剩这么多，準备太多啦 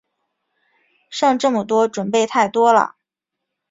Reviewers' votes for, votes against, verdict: 2, 0, accepted